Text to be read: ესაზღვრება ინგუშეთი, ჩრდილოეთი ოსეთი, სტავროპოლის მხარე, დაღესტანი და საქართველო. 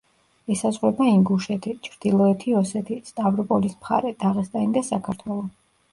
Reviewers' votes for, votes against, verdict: 2, 0, accepted